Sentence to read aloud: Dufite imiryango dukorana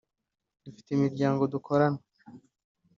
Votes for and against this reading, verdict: 2, 0, accepted